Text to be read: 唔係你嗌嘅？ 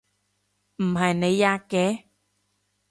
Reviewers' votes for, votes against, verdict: 0, 2, rejected